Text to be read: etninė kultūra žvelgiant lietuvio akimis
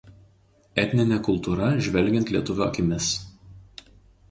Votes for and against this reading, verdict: 2, 0, accepted